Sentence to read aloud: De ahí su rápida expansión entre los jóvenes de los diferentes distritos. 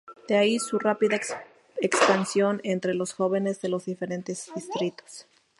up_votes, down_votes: 2, 2